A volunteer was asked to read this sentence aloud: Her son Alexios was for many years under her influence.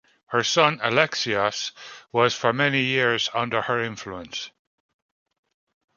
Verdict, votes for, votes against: accepted, 2, 0